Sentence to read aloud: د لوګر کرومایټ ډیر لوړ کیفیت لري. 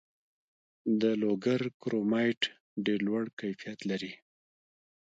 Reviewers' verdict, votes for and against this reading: rejected, 1, 2